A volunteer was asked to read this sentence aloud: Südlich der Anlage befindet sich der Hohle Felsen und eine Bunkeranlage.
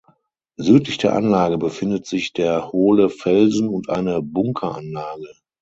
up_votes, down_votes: 6, 0